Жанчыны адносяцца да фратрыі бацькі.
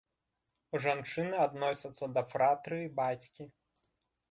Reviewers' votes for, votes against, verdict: 2, 0, accepted